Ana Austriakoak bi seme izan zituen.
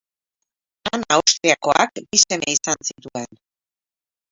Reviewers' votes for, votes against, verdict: 4, 8, rejected